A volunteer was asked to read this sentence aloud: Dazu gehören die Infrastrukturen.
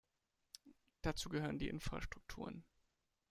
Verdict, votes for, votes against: rejected, 1, 2